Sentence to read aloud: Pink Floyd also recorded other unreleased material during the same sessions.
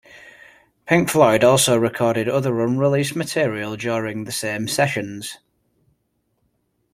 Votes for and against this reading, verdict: 2, 0, accepted